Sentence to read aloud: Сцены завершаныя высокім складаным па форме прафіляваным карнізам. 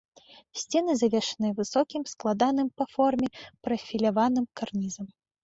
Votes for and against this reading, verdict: 2, 0, accepted